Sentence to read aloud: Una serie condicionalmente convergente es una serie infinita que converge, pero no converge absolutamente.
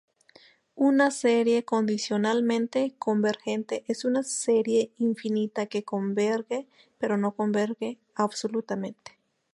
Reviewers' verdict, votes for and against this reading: rejected, 2, 2